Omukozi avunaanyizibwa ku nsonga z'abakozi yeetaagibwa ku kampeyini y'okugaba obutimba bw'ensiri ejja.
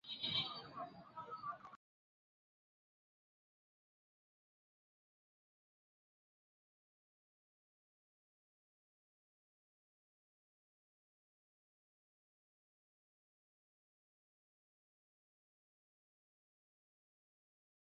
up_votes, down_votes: 0, 2